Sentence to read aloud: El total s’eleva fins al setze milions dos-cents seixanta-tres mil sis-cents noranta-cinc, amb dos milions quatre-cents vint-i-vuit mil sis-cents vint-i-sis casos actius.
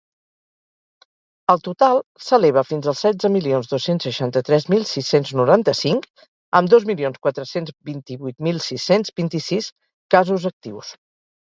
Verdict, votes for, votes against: rejected, 2, 2